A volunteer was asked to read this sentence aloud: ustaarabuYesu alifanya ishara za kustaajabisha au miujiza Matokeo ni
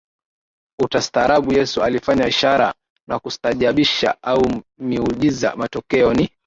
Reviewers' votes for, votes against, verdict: 1, 2, rejected